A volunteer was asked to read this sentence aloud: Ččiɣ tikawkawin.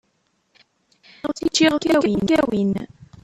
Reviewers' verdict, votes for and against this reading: rejected, 0, 2